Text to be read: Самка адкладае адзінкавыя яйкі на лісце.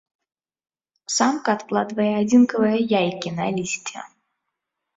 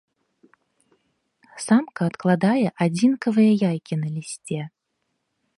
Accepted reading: second